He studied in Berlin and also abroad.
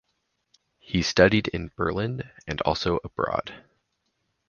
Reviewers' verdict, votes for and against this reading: accepted, 4, 0